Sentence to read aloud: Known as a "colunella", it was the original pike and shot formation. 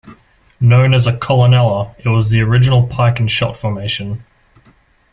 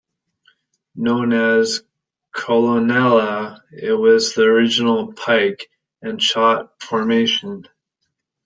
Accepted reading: first